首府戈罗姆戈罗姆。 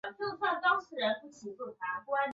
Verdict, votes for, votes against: rejected, 1, 2